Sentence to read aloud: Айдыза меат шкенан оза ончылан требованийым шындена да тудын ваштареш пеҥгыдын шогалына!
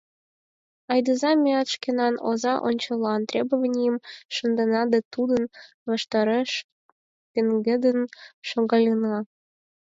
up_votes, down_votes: 0, 4